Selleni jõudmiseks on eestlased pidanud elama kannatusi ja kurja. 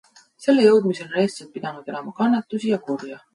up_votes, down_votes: 0, 2